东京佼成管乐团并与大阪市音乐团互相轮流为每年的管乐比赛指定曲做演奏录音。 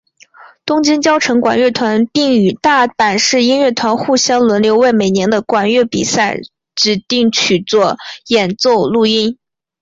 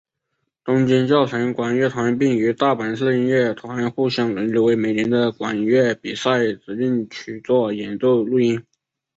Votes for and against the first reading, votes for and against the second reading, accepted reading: 2, 0, 0, 2, first